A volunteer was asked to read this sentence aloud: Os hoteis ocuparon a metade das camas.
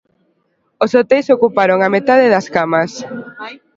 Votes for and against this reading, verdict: 2, 0, accepted